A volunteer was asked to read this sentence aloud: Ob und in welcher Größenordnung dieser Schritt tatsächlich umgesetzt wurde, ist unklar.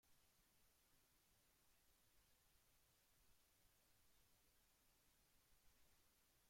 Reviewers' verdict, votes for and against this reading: rejected, 0, 2